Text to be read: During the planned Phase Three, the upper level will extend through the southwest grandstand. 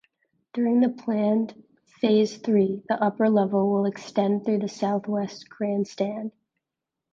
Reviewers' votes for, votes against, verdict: 2, 0, accepted